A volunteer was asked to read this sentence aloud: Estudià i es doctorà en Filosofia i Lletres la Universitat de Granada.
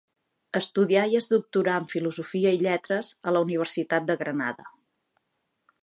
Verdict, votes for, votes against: rejected, 0, 2